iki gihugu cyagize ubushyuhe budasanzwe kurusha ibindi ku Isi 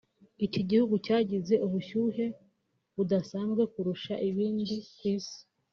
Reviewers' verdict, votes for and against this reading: rejected, 0, 2